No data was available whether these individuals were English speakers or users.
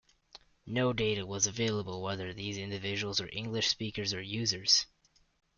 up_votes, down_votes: 2, 0